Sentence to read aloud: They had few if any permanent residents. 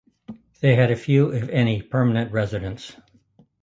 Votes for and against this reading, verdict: 1, 2, rejected